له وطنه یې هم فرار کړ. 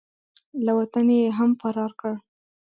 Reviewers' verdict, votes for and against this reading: rejected, 1, 2